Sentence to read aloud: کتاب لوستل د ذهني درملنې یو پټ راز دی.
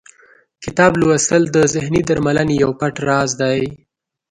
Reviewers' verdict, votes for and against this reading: rejected, 1, 2